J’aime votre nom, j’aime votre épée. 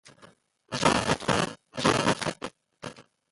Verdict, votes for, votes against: rejected, 0, 2